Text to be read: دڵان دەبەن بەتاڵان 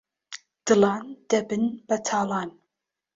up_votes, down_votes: 1, 3